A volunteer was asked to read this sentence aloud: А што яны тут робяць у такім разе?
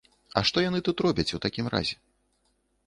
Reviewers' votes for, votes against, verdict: 2, 0, accepted